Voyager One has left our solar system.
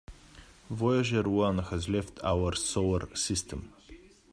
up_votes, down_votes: 2, 0